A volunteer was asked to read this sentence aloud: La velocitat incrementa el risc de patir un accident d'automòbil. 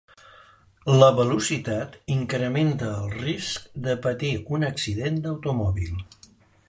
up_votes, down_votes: 2, 0